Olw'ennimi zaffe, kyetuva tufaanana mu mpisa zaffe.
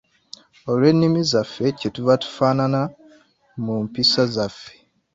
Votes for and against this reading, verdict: 2, 1, accepted